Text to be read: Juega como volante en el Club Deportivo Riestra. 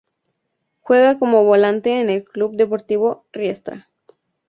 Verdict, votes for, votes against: accepted, 2, 0